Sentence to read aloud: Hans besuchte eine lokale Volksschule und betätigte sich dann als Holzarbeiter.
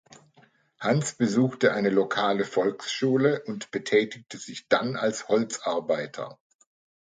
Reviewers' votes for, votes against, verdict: 2, 0, accepted